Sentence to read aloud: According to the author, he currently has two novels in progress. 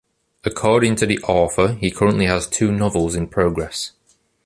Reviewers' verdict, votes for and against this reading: accepted, 2, 0